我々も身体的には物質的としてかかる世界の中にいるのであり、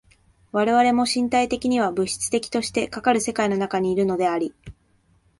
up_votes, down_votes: 2, 0